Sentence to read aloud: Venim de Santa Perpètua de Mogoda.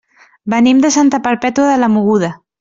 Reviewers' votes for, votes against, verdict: 0, 2, rejected